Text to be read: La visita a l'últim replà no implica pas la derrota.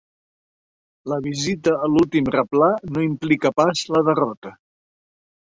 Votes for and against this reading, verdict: 3, 0, accepted